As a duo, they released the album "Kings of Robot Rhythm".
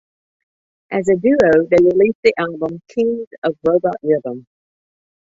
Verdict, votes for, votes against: accepted, 2, 0